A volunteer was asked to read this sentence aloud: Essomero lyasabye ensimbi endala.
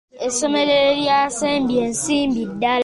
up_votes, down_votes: 1, 2